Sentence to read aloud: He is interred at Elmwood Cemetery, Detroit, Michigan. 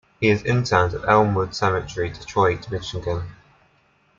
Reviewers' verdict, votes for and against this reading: accepted, 2, 0